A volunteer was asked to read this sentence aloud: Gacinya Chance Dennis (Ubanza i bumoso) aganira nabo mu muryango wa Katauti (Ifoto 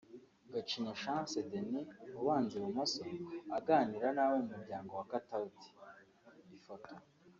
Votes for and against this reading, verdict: 2, 1, accepted